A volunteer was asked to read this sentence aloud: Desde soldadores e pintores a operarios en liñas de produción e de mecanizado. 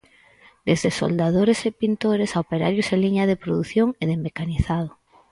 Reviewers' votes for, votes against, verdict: 0, 4, rejected